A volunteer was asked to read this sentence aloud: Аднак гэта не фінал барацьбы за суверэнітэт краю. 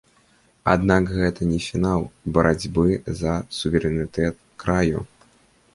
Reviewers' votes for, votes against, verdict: 2, 0, accepted